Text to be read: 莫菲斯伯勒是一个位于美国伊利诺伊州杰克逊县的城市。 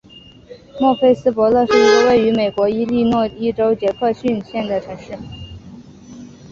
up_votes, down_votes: 3, 0